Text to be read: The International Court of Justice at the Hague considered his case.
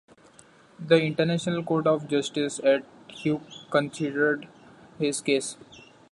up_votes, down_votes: 1, 2